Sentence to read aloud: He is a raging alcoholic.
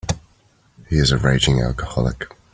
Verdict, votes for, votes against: accepted, 4, 0